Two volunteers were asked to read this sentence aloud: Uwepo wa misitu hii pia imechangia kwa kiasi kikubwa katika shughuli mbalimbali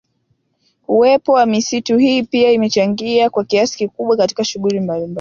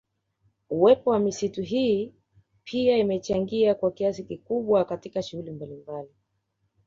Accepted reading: first